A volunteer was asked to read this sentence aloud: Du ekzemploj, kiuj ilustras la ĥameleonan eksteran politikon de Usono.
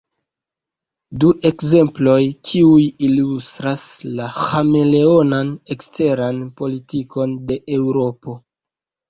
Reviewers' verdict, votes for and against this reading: rejected, 1, 2